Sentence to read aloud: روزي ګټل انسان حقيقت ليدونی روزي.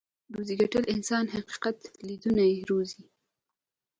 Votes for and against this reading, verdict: 2, 0, accepted